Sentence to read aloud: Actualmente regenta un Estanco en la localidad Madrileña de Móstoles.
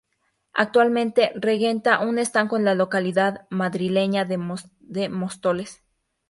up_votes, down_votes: 0, 4